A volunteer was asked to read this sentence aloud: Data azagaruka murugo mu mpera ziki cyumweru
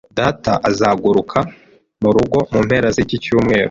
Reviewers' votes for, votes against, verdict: 1, 2, rejected